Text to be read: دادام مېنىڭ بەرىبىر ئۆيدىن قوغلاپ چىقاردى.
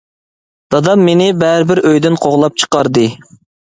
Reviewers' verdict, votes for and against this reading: rejected, 0, 2